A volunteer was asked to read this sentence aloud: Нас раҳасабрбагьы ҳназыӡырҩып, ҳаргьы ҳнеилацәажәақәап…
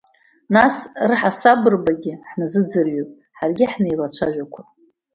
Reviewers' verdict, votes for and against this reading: accepted, 2, 0